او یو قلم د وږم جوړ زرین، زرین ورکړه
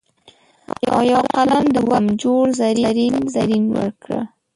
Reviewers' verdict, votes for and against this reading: rejected, 0, 2